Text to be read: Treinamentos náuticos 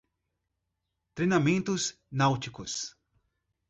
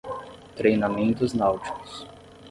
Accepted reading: first